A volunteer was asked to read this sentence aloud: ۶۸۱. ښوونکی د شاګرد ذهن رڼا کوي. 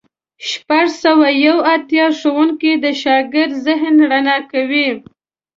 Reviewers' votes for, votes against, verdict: 0, 2, rejected